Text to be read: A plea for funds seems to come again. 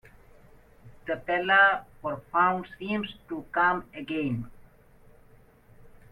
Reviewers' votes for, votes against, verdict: 0, 2, rejected